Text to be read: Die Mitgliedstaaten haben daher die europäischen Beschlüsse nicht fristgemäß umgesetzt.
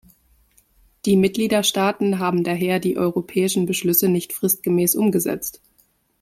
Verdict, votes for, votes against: rejected, 0, 2